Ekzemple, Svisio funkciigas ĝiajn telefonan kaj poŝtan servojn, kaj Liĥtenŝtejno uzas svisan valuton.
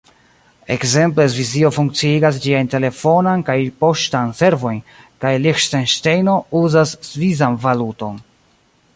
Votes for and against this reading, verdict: 1, 2, rejected